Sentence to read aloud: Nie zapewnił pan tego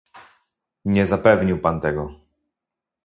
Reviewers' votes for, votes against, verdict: 0, 2, rejected